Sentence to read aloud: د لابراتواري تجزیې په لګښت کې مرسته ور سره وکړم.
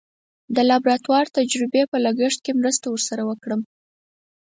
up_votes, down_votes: 4, 2